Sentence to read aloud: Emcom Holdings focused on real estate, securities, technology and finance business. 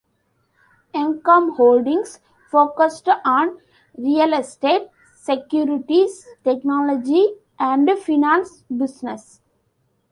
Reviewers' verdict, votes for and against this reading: rejected, 0, 2